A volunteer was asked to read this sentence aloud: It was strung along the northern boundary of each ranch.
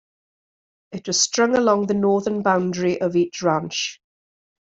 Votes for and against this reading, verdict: 2, 1, accepted